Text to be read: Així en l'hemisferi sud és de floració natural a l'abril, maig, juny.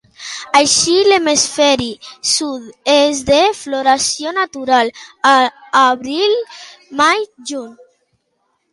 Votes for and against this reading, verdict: 0, 2, rejected